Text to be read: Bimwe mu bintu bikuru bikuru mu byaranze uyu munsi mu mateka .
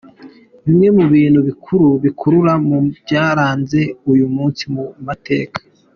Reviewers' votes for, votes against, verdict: 2, 0, accepted